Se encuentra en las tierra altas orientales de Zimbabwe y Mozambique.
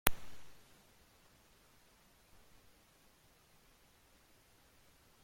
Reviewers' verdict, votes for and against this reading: rejected, 0, 2